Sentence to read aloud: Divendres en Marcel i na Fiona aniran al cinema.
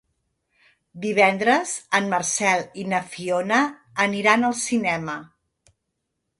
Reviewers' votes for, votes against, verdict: 2, 0, accepted